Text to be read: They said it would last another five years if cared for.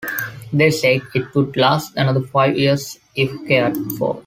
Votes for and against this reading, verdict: 2, 0, accepted